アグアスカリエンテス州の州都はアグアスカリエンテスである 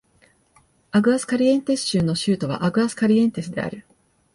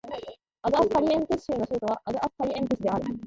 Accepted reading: first